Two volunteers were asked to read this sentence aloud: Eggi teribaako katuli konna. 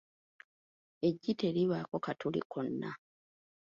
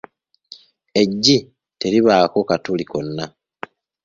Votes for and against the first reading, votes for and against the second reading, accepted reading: 0, 2, 2, 0, second